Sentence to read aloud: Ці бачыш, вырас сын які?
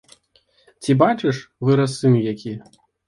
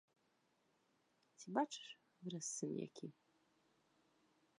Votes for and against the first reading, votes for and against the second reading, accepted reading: 2, 0, 1, 2, first